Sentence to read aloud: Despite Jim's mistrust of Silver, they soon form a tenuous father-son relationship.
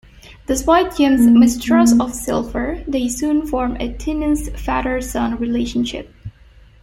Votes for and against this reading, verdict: 1, 2, rejected